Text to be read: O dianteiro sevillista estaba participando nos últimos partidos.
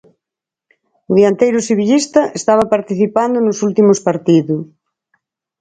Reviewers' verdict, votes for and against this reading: accepted, 4, 2